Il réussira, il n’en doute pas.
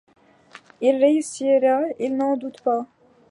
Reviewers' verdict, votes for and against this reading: accepted, 2, 0